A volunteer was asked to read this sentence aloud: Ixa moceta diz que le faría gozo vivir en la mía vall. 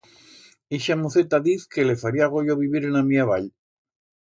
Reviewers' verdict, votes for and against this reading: rejected, 1, 2